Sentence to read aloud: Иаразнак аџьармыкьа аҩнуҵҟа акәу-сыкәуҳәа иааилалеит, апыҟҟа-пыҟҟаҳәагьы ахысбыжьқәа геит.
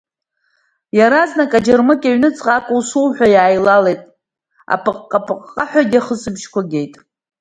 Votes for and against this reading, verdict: 2, 0, accepted